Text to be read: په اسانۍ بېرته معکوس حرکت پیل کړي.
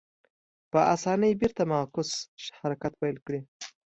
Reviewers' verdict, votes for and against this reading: accepted, 2, 0